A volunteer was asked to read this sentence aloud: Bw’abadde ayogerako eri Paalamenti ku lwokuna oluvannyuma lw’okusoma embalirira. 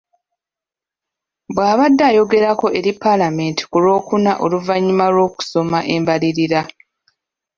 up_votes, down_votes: 2, 0